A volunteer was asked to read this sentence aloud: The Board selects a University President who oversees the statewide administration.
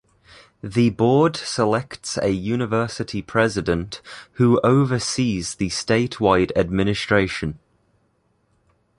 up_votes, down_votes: 2, 0